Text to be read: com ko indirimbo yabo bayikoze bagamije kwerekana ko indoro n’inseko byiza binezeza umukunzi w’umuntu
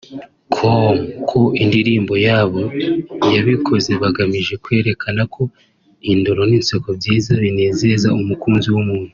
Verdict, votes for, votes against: rejected, 1, 2